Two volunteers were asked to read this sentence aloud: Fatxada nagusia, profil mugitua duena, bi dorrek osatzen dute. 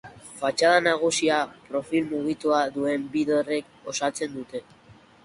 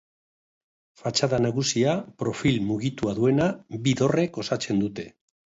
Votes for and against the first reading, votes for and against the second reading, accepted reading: 0, 2, 5, 0, second